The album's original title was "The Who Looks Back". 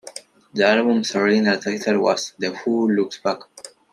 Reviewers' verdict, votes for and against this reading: accepted, 2, 1